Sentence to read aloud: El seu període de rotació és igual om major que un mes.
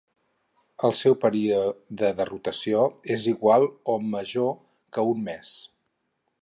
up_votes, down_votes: 0, 4